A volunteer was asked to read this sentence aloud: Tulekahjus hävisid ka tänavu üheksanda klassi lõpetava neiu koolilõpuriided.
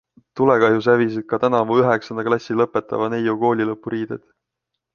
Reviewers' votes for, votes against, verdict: 2, 0, accepted